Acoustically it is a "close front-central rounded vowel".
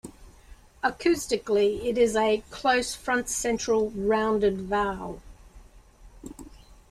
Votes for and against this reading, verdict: 2, 0, accepted